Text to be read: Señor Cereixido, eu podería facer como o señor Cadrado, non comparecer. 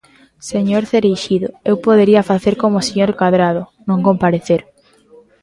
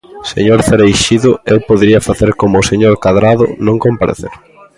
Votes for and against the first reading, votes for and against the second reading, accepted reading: 2, 0, 0, 2, first